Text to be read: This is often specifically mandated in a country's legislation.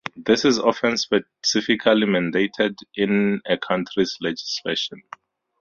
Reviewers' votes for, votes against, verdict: 0, 12, rejected